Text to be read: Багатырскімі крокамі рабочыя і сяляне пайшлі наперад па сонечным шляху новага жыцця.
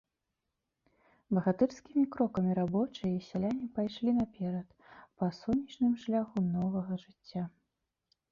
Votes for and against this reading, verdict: 2, 1, accepted